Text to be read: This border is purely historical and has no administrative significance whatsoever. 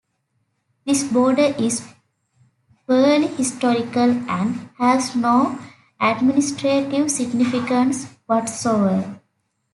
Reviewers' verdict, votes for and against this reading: accepted, 2, 0